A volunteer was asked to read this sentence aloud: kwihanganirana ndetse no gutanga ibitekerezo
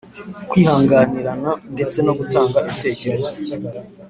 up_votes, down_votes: 2, 0